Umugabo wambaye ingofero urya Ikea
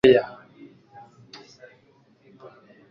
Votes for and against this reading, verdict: 0, 2, rejected